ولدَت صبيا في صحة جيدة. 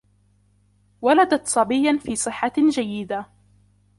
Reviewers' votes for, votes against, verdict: 2, 0, accepted